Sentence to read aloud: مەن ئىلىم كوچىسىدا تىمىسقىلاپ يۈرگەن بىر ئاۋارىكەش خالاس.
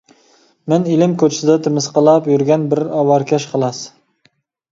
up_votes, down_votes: 2, 0